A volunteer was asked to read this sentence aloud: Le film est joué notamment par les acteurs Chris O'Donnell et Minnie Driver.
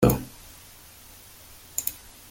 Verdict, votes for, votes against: rejected, 0, 3